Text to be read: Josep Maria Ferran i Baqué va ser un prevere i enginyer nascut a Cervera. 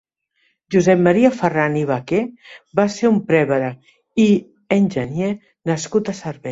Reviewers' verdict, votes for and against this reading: rejected, 1, 2